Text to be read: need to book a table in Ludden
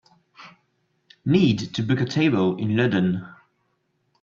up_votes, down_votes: 2, 0